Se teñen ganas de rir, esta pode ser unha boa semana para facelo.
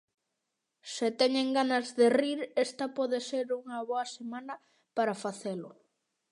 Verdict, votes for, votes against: accepted, 2, 0